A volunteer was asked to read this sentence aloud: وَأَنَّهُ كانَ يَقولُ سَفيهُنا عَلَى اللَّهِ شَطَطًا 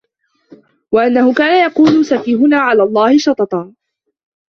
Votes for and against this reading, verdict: 2, 1, accepted